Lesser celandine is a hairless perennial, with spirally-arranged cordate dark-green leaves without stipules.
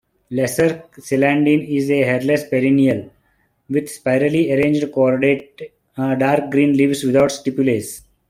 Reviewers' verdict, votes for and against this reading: rejected, 0, 2